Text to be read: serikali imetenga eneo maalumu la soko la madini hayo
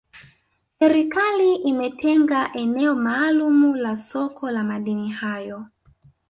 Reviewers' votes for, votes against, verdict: 1, 2, rejected